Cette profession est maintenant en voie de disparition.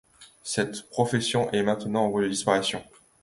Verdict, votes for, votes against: accepted, 2, 0